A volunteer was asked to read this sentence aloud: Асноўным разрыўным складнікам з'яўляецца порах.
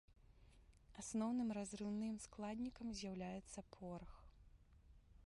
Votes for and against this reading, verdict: 1, 2, rejected